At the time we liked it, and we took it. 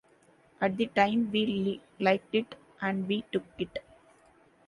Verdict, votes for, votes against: accepted, 2, 0